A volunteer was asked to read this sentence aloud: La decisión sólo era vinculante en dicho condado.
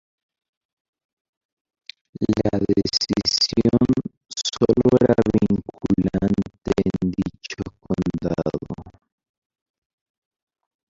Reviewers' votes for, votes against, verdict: 0, 2, rejected